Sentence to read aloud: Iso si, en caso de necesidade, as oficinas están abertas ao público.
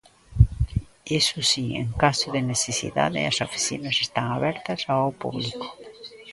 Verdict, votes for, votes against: rejected, 0, 2